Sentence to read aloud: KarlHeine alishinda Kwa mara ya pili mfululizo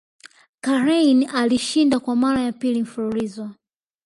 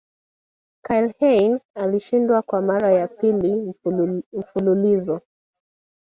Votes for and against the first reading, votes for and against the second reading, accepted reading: 2, 1, 1, 3, first